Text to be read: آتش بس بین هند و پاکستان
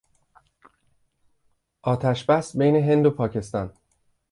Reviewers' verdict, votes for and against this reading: accepted, 2, 0